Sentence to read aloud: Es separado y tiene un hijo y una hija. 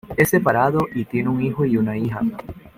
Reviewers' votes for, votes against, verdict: 2, 0, accepted